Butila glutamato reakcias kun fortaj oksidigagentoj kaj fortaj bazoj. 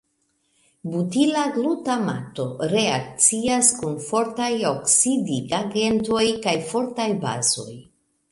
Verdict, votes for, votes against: accepted, 2, 0